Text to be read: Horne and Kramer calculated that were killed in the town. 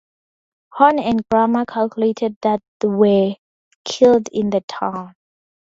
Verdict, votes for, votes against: rejected, 0, 2